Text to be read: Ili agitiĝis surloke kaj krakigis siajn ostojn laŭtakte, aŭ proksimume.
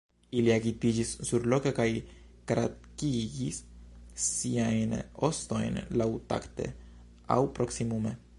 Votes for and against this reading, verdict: 2, 1, accepted